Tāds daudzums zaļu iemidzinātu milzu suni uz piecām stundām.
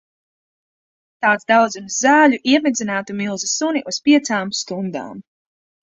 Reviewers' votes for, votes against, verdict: 1, 2, rejected